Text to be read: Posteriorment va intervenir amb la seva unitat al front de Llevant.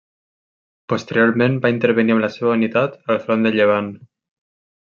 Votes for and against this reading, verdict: 0, 2, rejected